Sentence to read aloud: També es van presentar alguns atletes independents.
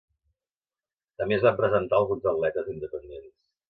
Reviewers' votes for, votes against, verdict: 0, 2, rejected